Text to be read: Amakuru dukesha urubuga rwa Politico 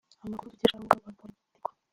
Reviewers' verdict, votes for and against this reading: rejected, 1, 2